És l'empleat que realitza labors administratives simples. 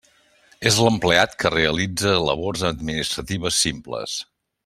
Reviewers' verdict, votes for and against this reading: accepted, 3, 0